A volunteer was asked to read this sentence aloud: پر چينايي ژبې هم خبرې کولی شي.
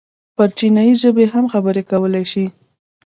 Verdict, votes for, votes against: rejected, 0, 2